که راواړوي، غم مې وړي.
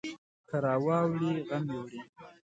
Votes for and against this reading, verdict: 0, 2, rejected